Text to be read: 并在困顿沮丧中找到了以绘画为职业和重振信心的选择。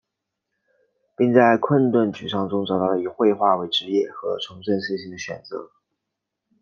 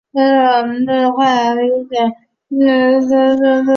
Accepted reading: first